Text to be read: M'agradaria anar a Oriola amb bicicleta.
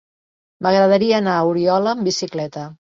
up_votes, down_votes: 3, 0